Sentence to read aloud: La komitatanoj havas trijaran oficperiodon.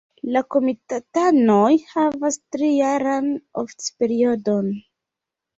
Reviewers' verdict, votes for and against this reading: accepted, 2, 0